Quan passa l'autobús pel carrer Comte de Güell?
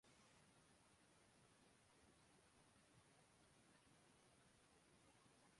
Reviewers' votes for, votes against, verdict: 0, 2, rejected